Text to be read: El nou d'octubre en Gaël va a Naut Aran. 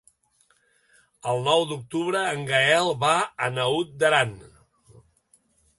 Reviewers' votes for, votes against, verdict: 1, 2, rejected